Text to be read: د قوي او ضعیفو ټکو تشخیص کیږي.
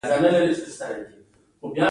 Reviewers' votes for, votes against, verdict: 2, 0, accepted